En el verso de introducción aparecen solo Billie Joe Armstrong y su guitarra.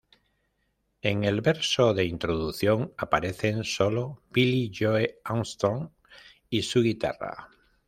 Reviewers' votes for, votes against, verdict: 0, 2, rejected